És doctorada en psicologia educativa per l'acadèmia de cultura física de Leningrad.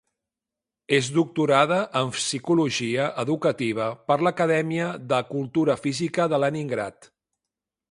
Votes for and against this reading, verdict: 2, 0, accepted